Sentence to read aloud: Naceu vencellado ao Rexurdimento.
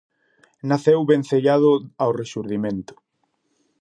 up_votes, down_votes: 2, 0